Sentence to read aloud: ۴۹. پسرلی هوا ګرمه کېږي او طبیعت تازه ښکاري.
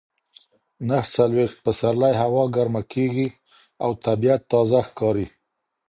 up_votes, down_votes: 0, 2